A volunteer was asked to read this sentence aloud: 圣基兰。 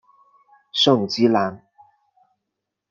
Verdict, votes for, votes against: accepted, 2, 0